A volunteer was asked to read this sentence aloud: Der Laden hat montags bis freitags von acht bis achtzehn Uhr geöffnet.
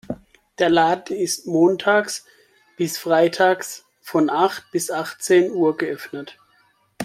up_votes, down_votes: 0, 2